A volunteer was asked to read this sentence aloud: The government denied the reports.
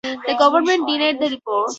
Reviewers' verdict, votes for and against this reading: rejected, 0, 4